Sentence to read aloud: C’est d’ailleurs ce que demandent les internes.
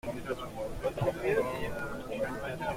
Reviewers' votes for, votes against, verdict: 0, 2, rejected